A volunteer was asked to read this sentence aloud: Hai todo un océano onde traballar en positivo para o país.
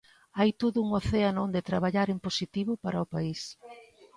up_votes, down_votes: 2, 0